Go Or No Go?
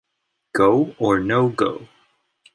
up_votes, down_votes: 2, 0